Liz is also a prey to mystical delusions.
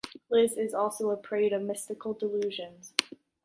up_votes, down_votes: 2, 0